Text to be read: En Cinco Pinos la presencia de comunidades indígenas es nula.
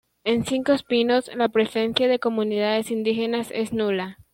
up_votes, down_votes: 1, 2